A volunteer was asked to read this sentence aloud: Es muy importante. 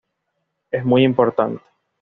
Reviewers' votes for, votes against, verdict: 2, 0, accepted